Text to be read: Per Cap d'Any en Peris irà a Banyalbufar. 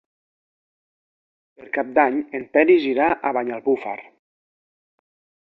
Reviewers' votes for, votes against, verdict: 0, 2, rejected